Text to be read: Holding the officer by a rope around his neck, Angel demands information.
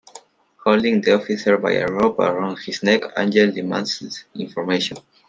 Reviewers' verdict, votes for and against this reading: accepted, 2, 0